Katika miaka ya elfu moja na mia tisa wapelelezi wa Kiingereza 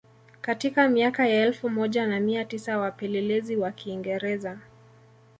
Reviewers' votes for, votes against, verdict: 2, 0, accepted